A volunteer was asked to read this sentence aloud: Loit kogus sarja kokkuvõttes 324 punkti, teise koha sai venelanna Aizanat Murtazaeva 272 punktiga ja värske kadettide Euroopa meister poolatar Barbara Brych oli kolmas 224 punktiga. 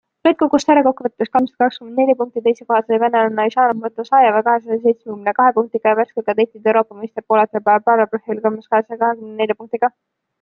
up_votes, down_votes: 0, 2